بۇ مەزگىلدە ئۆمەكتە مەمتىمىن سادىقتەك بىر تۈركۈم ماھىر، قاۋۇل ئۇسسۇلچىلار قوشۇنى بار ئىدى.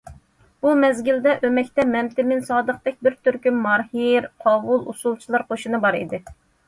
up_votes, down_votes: 2, 0